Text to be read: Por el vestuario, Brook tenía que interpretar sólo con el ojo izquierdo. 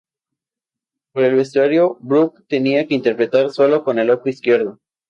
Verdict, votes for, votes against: accepted, 4, 0